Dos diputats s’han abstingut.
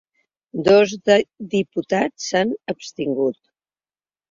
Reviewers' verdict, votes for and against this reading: rejected, 0, 2